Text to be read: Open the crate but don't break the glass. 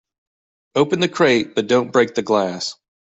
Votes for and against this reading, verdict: 2, 0, accepted